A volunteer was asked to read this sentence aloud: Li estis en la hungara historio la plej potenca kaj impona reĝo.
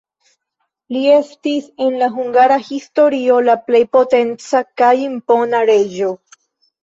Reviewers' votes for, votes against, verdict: 2, 0, accepted